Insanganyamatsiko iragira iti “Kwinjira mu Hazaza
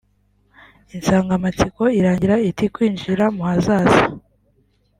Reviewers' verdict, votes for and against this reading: rejected, 0, 2